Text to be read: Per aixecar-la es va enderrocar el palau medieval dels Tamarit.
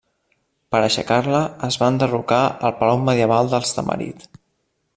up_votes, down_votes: 2, 0